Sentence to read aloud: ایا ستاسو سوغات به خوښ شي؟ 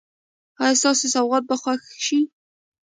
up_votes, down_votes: 2, 0